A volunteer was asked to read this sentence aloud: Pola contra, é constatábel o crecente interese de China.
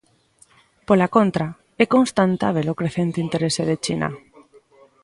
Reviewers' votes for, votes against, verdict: 0, 2, rejected